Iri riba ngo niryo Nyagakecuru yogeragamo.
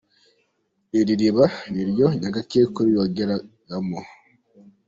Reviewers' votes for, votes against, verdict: 1, 2, rejected